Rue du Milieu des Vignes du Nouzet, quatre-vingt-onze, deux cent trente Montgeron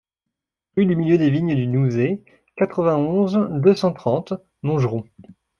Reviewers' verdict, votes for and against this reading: rejected, 1, 2